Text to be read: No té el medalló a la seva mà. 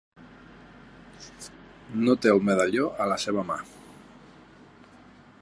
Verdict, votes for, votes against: accepted, 3, 0